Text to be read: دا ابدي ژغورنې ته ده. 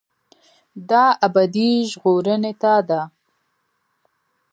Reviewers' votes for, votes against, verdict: 0, 2, rejected